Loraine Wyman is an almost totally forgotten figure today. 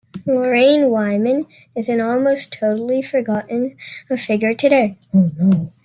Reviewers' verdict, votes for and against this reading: accepted, 2, 1